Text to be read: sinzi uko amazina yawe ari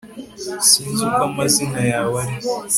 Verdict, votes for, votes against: accepted, 3, 0